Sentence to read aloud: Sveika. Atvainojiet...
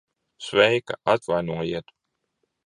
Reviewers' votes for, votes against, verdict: 2, 0, accepted